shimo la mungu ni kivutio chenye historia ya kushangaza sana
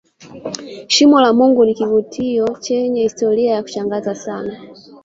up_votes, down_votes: 2, 1